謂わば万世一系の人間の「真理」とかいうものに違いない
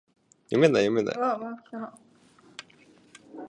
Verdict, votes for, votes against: rejected, 1, 2